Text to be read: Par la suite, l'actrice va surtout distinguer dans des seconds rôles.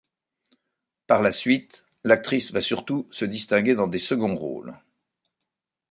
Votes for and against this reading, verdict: 1, 2, rejected